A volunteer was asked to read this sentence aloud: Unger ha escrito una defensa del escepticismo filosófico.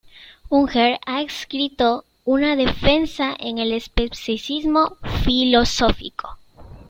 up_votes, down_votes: 0, 2